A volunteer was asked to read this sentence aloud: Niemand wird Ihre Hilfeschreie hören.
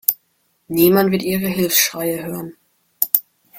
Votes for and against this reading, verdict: 1, 2, rejected